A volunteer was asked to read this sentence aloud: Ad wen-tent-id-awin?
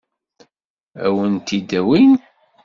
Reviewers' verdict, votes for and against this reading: rejected, 1, 2